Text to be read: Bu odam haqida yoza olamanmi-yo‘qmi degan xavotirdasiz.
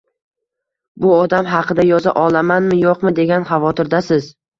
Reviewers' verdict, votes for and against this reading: accepted, 2, 0